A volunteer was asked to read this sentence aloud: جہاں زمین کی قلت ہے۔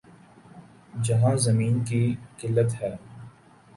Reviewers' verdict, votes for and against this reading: accepted, 2, 0